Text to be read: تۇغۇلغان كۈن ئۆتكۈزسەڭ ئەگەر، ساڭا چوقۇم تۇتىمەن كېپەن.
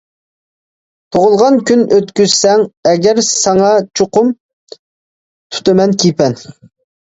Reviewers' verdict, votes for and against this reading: accepted, 2, 1